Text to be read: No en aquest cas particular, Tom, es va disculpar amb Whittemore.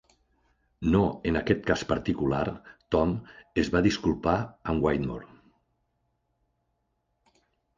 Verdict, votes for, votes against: accepted, 2, 0